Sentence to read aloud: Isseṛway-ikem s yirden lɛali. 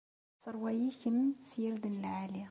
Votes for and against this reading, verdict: 2, 1, accepted